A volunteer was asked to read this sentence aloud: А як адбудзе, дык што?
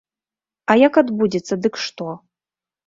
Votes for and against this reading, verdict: 0, 2, rejected